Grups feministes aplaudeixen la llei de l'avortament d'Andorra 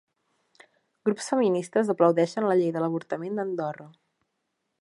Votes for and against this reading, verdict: 4, 1, accepted